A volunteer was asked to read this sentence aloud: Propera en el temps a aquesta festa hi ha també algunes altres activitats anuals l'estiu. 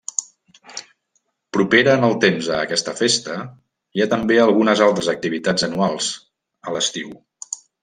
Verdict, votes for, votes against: rejected, 1, 2